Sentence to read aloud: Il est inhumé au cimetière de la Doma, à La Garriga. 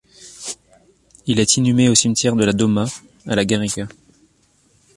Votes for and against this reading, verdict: 2, 0, accepted